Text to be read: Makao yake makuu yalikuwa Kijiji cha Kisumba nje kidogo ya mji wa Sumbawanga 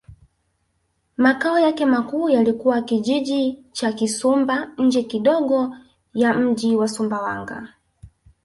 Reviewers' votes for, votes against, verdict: 2, 0, accepted